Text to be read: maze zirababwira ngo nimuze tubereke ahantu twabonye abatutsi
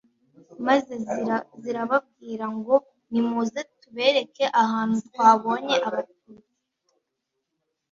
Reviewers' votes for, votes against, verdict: 1, 2, rejected